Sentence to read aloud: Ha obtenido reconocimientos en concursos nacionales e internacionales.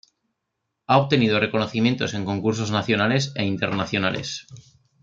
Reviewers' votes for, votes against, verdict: 1, 2, rejected